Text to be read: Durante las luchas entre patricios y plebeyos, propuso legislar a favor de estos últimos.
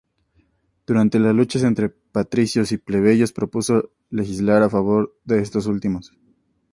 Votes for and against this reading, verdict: 2, 0, accepted